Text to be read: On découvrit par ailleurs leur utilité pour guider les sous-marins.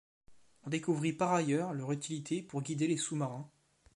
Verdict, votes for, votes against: rejected, 1, 2